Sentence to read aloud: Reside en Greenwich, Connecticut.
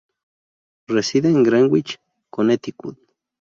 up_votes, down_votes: 2, 0